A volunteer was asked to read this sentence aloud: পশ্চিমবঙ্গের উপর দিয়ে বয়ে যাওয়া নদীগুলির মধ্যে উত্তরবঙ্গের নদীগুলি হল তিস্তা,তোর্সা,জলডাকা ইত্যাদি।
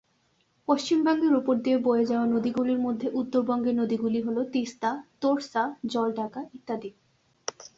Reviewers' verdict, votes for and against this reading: accepted, 2, 0